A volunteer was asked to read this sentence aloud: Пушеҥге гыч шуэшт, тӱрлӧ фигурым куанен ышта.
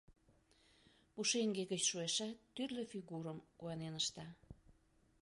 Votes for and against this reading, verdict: 0, 2, rejected